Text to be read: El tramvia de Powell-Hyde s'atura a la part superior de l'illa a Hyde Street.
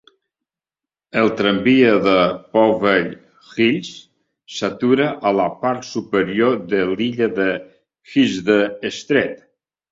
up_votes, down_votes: 1, 2